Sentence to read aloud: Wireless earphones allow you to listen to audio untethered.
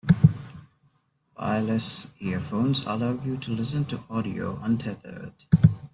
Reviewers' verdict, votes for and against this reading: accepted, 2, 1